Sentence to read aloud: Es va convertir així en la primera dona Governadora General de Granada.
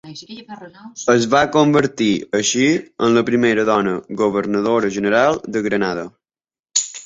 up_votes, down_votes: 1, 2